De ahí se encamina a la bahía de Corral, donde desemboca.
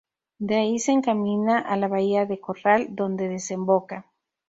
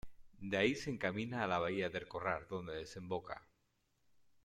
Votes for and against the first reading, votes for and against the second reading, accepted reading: 2, 0, 1, 2, first